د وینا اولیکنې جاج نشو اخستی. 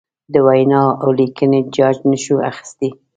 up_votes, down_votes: 2, 1